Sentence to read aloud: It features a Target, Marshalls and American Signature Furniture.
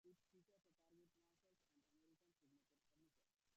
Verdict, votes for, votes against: rejected, 0, 2